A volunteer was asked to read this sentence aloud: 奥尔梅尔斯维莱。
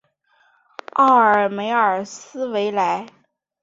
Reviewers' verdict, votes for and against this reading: accepted, 4, 0